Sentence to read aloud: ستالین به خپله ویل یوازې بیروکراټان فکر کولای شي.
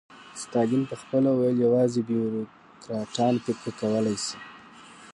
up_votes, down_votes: 2, 0